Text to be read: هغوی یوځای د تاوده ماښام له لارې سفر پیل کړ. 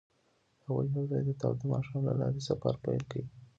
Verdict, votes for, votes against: rejected, 1, 2